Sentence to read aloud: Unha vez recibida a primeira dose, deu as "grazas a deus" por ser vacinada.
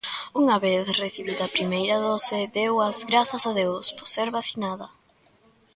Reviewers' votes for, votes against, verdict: 1, 2, rejected